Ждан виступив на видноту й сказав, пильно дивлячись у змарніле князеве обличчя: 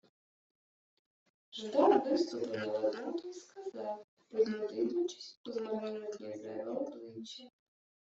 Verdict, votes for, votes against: rejected, 1, 2